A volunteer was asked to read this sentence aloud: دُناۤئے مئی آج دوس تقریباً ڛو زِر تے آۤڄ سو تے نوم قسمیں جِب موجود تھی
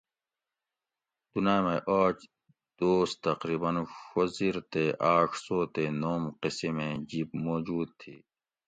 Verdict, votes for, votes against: accepted, 2, 1